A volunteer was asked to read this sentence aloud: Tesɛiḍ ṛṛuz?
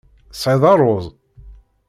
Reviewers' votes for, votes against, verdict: 2, 0, accepted